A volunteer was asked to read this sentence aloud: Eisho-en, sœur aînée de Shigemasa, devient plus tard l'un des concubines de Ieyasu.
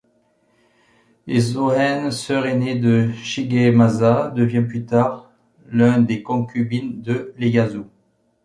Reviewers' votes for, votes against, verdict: 0, 2, rejected